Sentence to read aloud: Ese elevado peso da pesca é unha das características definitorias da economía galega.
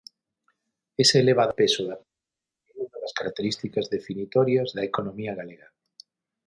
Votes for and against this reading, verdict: 0, 6, rejected